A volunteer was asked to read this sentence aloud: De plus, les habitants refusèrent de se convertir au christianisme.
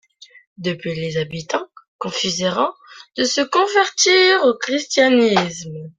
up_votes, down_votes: 1, 2